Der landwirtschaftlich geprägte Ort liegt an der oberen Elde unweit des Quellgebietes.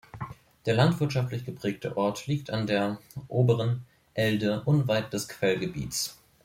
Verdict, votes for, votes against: accepted, 2, 1